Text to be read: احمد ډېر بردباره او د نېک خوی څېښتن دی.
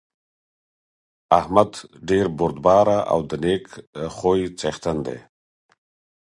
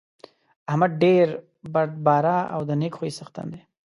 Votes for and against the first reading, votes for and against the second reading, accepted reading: 4, 0, 0, 2, first